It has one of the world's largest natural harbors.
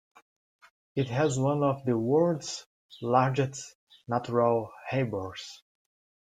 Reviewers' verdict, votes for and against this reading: rejected, 1, 2